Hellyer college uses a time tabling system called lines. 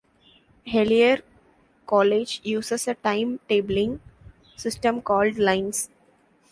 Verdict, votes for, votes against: accepted, 2, 0